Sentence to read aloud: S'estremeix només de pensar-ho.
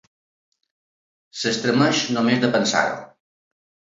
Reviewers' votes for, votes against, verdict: 2, 0, accepted